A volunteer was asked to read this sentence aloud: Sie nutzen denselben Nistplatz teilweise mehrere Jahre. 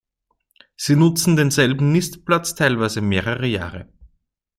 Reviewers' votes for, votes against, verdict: 2, 0, accepted